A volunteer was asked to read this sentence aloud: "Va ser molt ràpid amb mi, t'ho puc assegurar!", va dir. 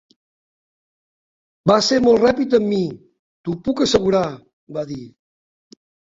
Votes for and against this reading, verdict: 3, 0, accepted